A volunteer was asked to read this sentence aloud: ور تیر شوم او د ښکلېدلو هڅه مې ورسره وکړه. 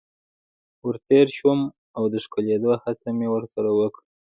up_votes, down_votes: 2, 0